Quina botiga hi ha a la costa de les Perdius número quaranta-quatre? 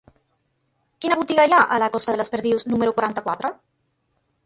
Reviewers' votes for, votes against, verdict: 2, 0, accepted